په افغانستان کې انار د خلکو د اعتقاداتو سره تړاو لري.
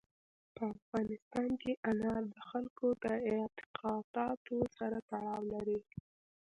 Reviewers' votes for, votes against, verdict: 1, 2, rejected